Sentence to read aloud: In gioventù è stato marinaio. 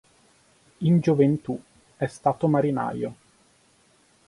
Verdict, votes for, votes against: accepted, 4, 0